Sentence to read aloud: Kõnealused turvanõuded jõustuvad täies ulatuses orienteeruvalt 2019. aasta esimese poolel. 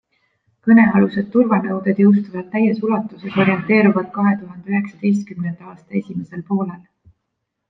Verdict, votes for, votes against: rejected, 0, 2